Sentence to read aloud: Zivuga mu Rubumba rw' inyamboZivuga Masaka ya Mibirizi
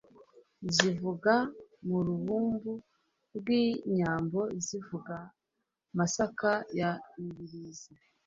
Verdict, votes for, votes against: accepted, 2, 0